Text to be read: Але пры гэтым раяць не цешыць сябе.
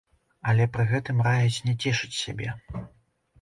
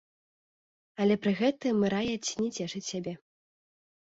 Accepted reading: first